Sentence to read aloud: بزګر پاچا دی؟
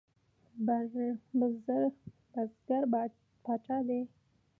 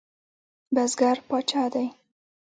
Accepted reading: second